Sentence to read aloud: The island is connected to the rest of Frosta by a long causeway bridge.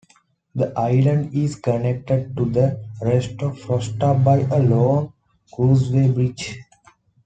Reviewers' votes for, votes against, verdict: 2, 1, accepted